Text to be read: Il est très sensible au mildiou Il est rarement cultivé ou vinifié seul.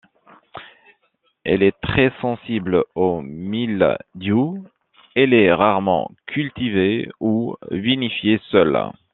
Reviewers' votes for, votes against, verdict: 0, 2, rejected